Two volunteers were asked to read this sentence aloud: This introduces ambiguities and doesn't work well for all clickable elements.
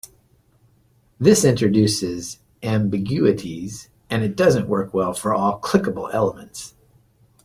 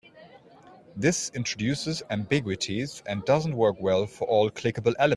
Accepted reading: first